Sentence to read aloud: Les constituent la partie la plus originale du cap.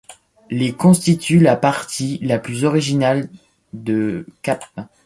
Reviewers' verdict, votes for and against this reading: rejected, 1, 2